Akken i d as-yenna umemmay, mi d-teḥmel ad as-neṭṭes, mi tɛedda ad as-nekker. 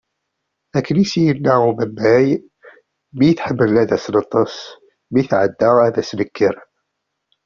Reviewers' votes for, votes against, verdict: 2, 0, accepted